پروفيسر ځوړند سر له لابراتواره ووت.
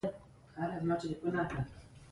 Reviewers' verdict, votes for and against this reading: accepted, 2, 0